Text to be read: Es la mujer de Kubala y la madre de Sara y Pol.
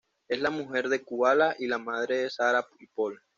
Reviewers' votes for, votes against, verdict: 2, 0, accepted